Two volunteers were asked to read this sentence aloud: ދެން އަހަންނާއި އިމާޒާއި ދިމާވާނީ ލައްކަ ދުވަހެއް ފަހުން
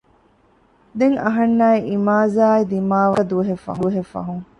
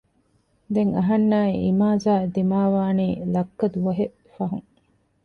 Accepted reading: second